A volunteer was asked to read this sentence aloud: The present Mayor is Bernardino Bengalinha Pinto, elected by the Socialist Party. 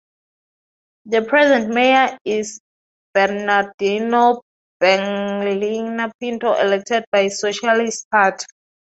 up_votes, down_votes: 0, 2